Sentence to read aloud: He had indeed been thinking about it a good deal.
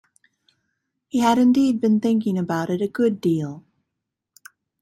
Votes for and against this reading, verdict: 2, 0, accepted